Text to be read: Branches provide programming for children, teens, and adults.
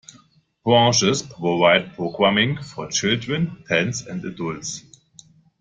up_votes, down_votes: 0, 2